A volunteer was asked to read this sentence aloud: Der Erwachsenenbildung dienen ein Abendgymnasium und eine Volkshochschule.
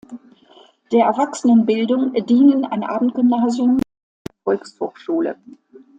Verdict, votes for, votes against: rejected, 0, 2